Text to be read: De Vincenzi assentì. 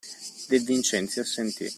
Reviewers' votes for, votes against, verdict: 2, 0, accepted